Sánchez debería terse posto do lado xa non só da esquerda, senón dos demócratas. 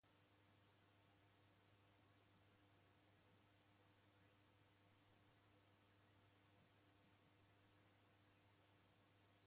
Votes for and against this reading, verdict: 0, 2, rejected